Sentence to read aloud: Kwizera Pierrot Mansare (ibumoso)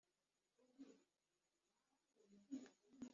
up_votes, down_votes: 1, 2